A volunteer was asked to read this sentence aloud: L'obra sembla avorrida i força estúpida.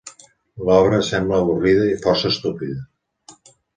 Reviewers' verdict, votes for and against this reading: accepted, 2, 0